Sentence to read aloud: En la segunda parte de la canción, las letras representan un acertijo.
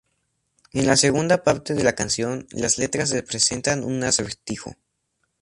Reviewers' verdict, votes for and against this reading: accepted, 2, 0